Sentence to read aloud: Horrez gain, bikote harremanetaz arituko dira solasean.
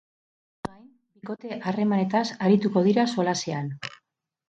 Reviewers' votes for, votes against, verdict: 4, 4, rejected